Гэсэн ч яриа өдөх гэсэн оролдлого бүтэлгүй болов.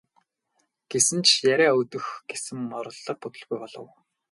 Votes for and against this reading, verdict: 0, 2, rejected